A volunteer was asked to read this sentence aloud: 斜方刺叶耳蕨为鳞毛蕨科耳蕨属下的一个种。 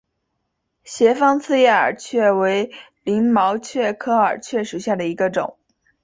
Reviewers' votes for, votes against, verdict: 2, 1, accepted